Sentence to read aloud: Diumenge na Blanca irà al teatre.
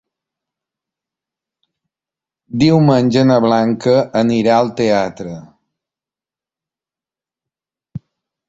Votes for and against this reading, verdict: 0, 2, rejected